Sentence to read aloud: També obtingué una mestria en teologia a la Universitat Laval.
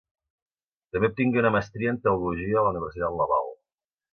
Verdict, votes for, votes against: accepted, 2, 1